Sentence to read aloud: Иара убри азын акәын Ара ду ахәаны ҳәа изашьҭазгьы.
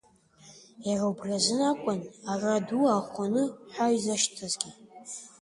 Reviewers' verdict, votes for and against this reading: rejected, 1, 2